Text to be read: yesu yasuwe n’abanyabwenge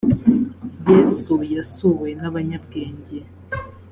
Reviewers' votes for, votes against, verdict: 2, 0, accepted